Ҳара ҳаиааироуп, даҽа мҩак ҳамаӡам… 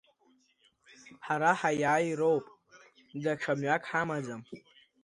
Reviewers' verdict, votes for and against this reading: accepted, 2, 0